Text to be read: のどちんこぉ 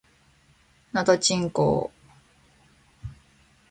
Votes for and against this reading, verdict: 2, 1, accepted